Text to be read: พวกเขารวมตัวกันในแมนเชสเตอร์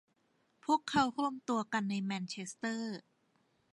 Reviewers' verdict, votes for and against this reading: accepted, 2, 0